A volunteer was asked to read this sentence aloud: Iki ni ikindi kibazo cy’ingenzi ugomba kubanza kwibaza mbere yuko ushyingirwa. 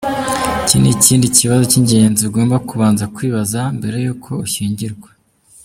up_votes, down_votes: 2, 1